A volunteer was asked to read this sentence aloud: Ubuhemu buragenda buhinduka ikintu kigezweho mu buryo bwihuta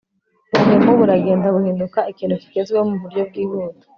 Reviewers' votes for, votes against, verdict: 2, 0, accepted